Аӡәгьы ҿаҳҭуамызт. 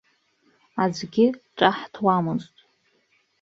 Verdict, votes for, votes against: rejected, 1, 2